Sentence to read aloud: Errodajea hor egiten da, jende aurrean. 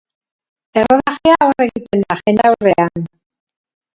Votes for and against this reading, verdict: 0, 3, rejected